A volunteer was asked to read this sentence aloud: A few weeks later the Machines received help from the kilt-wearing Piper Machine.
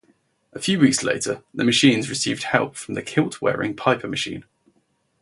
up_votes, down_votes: 4, 0